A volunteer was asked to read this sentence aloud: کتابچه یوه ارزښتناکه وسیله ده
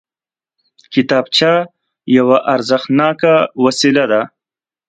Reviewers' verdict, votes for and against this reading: accepted, 2, 0